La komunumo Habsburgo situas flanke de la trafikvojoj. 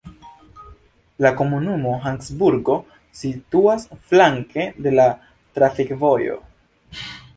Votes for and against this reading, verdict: 0, 2, rejected